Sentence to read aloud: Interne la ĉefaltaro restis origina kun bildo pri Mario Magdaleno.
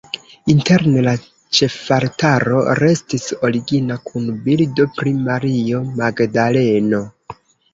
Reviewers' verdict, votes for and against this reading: rejected, 1, 2